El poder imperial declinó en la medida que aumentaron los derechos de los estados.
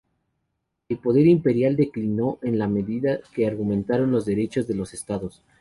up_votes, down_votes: 0, 4